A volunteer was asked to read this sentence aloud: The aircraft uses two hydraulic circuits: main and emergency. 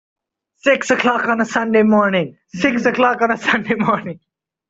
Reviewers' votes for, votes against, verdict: 0, 2, rejected